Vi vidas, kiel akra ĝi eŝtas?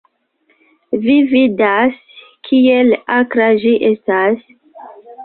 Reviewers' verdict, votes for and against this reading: rejected, 0, 2